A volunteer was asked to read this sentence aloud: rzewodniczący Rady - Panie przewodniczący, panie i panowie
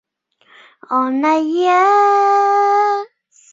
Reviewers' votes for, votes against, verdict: 0, 2, rejected